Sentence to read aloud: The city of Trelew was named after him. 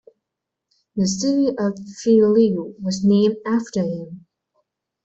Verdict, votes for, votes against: rejected, 0, 2